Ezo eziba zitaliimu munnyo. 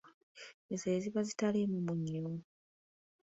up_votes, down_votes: 2, 0